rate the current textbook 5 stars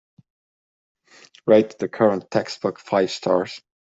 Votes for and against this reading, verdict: 0, 2, rejected